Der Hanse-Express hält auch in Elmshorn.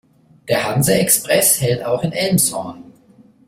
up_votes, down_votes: 2, 0